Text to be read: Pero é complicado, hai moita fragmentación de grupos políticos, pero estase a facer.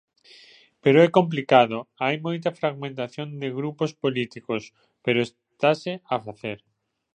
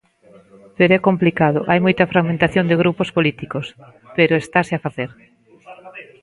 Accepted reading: first